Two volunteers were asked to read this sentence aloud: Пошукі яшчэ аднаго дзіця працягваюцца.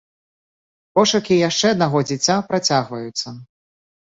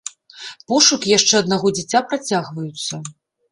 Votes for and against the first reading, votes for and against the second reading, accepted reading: 2, 0, 0, 2, first